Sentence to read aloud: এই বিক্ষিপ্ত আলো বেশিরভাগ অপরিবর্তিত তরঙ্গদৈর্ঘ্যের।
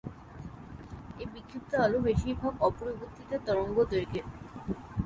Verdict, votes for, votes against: rejected, 3, 3